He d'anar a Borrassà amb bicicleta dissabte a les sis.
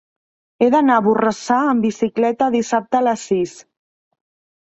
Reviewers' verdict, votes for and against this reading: accepted, 3, 0